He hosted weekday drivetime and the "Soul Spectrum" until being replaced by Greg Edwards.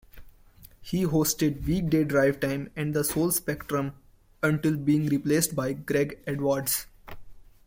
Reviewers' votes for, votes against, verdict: 1, 3, rejected